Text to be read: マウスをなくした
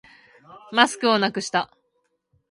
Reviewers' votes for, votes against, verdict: 0, 2, rejected